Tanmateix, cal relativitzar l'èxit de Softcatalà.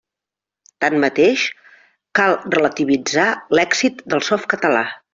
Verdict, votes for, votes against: rejected, 1, 2